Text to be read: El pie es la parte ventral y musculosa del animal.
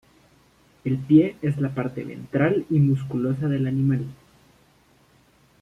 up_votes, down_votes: 2, 0